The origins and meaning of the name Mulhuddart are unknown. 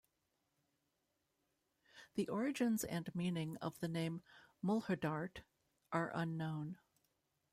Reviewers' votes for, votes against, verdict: 0, 2, rejected